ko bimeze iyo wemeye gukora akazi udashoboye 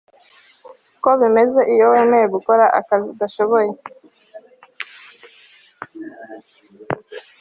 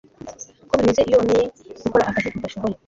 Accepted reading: first